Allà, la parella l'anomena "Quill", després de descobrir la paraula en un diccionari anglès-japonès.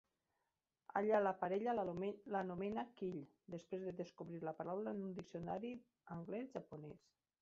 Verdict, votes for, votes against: rejected, 1, 2